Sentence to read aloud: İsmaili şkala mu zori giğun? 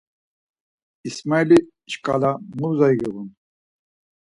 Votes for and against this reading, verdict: 4, 2, accepted